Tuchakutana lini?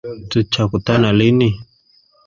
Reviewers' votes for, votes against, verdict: 1, 2, rejected